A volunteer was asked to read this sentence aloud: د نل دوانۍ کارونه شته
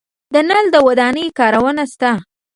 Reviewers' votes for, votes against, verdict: 1, 2, rejected